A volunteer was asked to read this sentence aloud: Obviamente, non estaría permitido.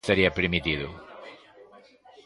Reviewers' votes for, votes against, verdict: 0, 2, rejected